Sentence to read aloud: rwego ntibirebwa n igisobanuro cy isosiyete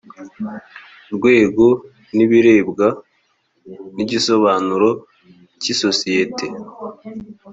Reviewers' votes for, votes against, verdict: 3, 0, accepted